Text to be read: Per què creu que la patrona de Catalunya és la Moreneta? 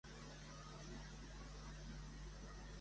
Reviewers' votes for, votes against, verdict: 0, 2, rejected